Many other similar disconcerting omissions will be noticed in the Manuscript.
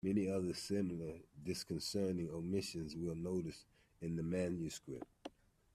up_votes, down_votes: 2, 1